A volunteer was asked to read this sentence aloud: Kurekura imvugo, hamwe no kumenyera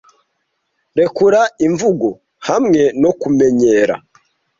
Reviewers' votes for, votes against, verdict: 1, 2, rejected